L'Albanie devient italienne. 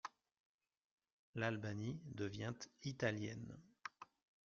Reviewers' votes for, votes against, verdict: 0, 2, rejected